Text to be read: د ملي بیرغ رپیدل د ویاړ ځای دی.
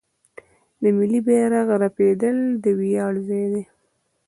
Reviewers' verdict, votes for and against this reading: rejected, 0, 2